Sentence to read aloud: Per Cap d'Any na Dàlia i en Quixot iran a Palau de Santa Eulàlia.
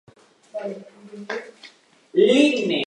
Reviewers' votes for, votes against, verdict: 0, 2, rejected